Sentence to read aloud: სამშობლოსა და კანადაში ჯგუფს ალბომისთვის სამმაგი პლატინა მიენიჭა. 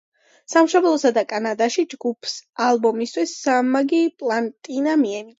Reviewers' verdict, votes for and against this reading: accepted, 2, 1